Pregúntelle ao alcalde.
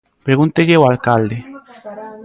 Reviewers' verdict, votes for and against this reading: rejected, 0, 2